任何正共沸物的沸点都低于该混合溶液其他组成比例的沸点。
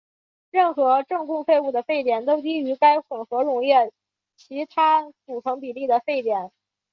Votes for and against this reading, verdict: 2, 0, accepted